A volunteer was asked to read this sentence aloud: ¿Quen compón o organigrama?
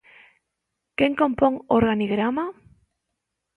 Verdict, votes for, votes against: accepted, 2, 1